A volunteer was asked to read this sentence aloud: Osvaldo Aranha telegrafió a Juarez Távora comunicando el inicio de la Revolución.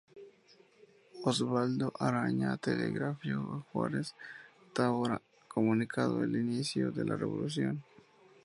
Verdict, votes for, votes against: accepted, 2, 0